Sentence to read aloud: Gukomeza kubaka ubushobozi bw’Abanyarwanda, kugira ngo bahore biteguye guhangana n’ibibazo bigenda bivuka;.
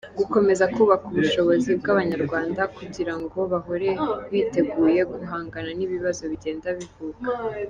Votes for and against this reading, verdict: 2, 0, accepted